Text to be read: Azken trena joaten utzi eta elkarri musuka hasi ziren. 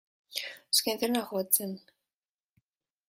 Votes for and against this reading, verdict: 0, 2, rejected